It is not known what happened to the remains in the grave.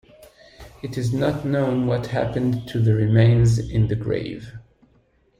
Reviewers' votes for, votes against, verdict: 2, 0, accepted